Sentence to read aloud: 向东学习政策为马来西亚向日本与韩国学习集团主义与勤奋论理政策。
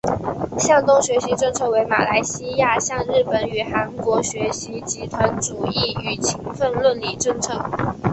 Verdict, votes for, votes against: accepted, 2, 0